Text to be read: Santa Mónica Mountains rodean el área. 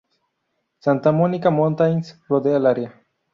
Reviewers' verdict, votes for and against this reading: rejected, 0, 2